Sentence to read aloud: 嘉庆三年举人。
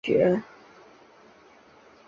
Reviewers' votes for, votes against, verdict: 1, 3, rejected